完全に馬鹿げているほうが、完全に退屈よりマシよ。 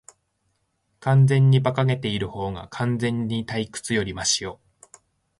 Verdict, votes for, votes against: accepted, 3, 0